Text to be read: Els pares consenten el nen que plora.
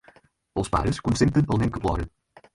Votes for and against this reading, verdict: 4, 0, accepted